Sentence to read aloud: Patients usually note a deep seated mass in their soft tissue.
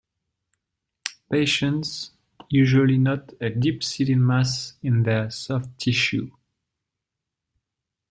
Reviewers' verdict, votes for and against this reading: accepted, 2, 0